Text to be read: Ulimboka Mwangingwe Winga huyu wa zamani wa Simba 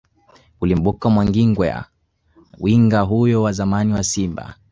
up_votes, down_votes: 0, 2